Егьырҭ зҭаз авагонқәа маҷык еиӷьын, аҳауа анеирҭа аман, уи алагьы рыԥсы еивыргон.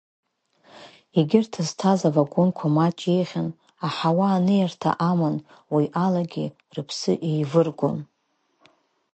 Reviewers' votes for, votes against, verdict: 1, 2, rejected